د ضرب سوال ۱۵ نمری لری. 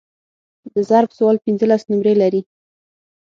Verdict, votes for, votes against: rejected, 0, 2